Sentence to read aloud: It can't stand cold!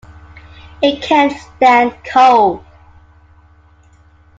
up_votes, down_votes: 2, 0